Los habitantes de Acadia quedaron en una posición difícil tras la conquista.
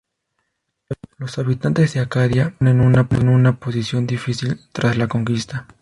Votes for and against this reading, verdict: 0, 2, rejected